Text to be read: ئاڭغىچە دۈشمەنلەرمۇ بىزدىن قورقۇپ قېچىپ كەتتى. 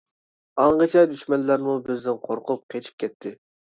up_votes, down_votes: 2, 0